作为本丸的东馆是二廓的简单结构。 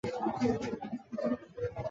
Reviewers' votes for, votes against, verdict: 3, 4, rejected